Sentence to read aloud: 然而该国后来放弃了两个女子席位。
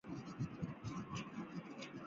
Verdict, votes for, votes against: accepted, 3, 2